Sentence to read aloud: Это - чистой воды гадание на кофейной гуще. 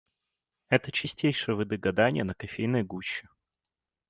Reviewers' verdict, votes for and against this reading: rejected, 1, 2